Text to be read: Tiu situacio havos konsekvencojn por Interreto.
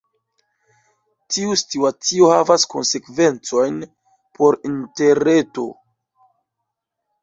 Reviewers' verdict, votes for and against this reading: rejected, 1, 2